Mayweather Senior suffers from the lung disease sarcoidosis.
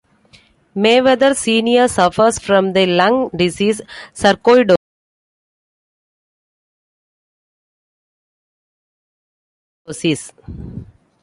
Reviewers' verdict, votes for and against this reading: rejected, 0, 2